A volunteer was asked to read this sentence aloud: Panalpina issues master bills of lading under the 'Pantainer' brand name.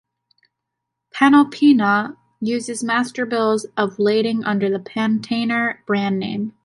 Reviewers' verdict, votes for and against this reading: rejected, 0, 2